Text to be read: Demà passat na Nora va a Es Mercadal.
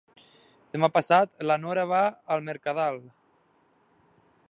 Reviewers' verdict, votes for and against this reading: rejected, 2, 3